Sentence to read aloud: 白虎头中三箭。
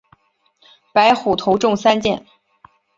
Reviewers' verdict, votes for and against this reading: accepted, 3, 0